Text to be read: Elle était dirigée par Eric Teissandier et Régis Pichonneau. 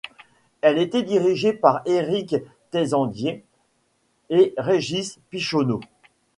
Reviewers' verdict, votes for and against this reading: rejected, 1, 2